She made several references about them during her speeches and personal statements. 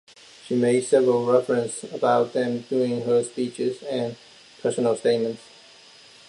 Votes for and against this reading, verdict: 0, 2, rejected